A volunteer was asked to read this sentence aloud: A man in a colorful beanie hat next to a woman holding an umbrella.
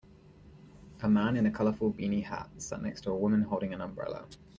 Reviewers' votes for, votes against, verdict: 0, 2, rejected